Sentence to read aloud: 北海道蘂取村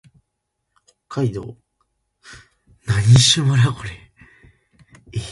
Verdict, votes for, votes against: rejected, 0, 2